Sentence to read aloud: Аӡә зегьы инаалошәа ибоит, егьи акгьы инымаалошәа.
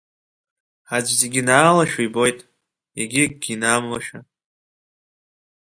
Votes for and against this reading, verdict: 1, 2, rejected